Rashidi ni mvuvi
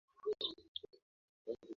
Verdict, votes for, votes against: rejected, 0, 3